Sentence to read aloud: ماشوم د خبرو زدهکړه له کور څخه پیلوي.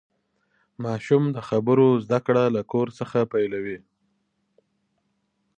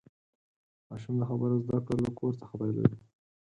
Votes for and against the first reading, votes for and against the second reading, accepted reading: 2, 0, 0, 4, first